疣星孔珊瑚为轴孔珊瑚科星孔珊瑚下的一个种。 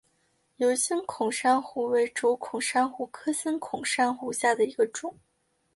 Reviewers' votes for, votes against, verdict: 2, 0, accepted